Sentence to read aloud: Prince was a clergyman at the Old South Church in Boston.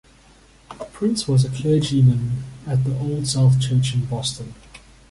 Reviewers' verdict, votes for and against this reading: accepted, 2, 0